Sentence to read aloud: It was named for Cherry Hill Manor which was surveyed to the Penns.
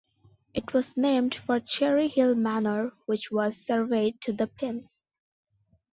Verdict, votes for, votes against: accepted, 2, 1